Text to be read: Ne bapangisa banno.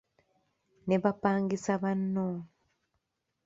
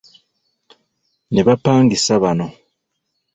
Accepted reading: first